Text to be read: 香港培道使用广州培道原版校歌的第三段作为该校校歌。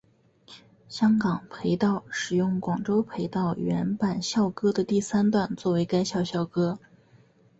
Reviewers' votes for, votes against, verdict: 3, 0, accepted